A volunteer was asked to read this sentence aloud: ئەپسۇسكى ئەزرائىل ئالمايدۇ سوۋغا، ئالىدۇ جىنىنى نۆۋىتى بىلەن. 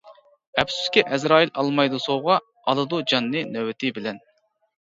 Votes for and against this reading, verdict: 0, 2, rejected